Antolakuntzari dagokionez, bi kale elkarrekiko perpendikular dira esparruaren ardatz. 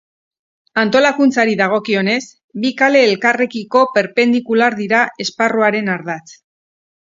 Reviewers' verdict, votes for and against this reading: accepted, 4, 0